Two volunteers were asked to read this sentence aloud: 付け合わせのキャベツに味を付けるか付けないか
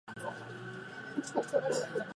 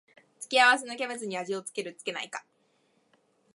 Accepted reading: second